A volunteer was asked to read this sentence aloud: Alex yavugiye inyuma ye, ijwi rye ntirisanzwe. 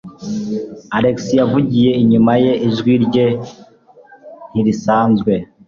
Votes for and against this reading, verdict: 2, 0, accepted